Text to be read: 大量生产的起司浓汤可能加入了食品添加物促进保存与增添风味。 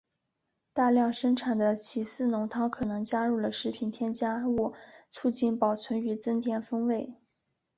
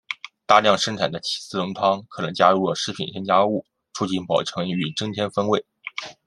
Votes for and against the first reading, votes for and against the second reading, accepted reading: 1, 2, 2, 0, second